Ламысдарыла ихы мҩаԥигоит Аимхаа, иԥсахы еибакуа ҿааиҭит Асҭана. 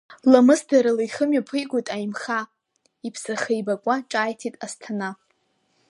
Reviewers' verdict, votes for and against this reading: accepted, 3, 0